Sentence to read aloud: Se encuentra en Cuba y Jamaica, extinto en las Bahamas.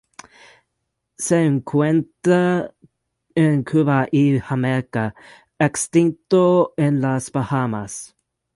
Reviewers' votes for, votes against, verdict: 0, 2, rejected